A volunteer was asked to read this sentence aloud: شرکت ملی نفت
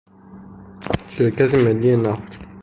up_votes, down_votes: 3, 0